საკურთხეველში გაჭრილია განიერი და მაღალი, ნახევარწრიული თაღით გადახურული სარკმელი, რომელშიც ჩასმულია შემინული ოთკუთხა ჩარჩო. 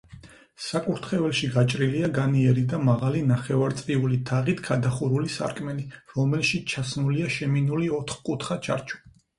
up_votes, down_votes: 4, 0